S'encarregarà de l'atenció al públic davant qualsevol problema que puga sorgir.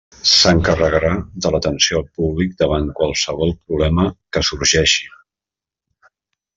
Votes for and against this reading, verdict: 0, 3, rejected